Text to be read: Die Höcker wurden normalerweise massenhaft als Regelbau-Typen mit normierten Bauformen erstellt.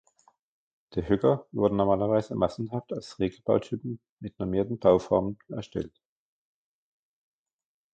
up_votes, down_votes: 2, 1